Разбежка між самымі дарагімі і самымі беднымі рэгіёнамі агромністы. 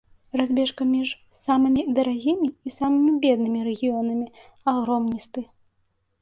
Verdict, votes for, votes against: accepted, 2, 0